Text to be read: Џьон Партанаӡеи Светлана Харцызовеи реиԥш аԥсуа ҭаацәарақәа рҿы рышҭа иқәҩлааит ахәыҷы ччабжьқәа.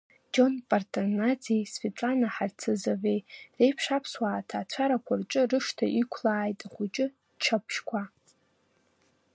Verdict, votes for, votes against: rejected, 1, 2